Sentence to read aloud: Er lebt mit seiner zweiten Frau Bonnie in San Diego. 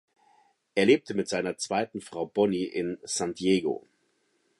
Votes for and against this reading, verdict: 1, 2, rejected